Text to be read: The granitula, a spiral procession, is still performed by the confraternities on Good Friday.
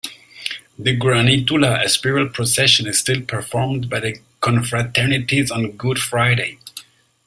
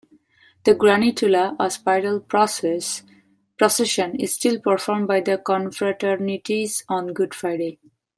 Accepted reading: first